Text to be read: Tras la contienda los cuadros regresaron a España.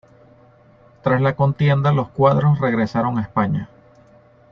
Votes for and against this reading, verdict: 2, 0, accepted